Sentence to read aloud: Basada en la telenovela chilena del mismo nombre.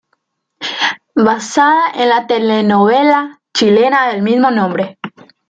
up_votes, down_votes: 2, 0